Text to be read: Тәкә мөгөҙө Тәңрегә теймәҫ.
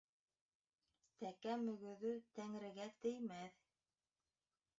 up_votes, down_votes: 0, 2